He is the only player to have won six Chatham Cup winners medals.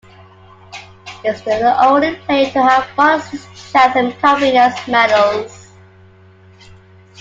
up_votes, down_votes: 0, 2